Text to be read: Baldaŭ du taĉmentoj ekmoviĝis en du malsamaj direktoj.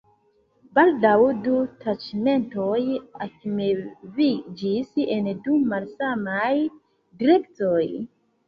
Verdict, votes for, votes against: rejected, 0, 2